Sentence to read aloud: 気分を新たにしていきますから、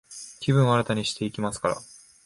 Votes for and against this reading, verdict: 2, 0, accepted